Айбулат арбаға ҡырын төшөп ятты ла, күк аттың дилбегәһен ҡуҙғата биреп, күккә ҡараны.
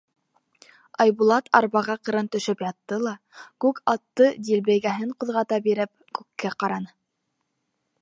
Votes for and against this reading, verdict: 2, 3, rejected